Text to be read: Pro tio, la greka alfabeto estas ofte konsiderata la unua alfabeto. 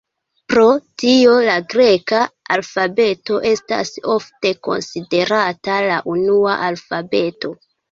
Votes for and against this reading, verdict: 2, 0, accepted